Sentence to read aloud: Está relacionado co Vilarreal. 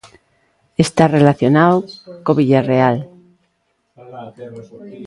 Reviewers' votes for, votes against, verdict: 0, 2, rejected